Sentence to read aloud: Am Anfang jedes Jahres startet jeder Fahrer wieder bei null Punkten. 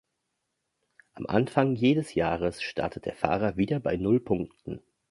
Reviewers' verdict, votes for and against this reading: rejected, 0, 2